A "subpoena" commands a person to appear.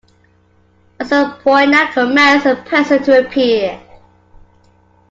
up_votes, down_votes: 2, 1